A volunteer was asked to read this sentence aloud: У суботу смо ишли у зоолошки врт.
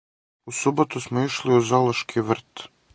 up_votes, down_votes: 4, 0